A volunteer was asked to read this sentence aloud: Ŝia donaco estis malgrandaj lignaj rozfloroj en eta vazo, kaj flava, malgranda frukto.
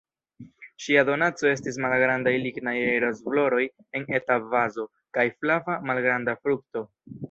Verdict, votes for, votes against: rejected, 2, 4